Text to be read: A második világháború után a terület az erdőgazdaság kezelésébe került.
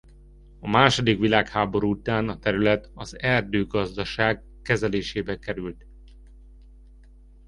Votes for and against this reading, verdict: 2, 0, accepted